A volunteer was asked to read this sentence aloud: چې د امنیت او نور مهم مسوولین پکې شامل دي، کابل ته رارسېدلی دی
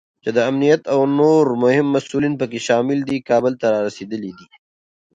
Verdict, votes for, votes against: accepted, 3, 2